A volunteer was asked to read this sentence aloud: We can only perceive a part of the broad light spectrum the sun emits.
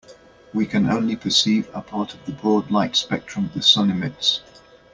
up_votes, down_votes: 2, 0